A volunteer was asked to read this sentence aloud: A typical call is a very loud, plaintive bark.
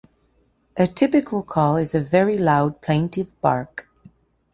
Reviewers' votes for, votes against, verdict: 2, 0, accepted